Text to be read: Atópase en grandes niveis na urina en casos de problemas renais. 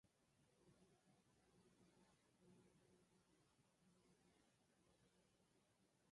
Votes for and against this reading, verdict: 0, 4, rejected